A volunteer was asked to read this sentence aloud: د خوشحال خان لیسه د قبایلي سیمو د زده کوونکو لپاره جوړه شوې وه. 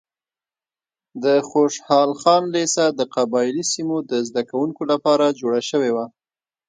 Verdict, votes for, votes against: rejected, 0, 2